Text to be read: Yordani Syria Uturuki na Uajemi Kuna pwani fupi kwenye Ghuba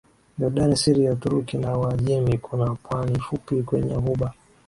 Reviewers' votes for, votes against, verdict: 2, 0, accepted